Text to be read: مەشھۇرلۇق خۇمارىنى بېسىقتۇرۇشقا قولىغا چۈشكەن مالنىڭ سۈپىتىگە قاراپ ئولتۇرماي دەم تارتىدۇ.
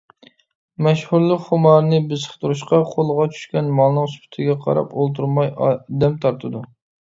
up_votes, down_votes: 1, 2